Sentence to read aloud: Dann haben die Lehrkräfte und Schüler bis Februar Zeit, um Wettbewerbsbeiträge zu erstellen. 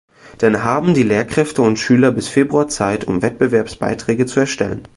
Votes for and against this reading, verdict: 2, 0, accepted